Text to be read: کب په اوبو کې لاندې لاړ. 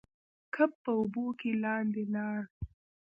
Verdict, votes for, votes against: rejected, 0, 2